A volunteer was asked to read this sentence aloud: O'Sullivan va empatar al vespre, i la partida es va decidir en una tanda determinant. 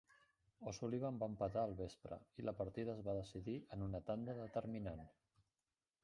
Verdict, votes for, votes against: rejected, 0, 2